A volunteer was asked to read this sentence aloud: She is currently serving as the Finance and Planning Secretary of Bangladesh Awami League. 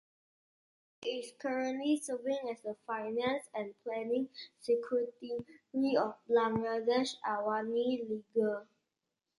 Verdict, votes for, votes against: rejected, 0, 2